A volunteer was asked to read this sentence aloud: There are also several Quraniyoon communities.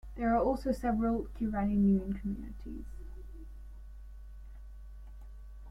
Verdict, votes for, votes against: rejected, 1, 2